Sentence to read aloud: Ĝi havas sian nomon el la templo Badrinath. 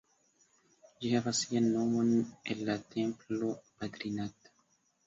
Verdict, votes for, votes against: accepted, 2, 1